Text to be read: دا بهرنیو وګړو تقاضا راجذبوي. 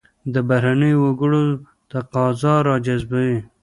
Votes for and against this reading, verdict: 0, 2, rejected